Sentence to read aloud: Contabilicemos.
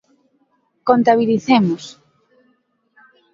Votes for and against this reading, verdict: 2, 0, accepted